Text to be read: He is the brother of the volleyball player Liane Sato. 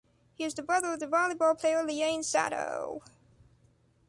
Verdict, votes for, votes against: accepted, 2, 1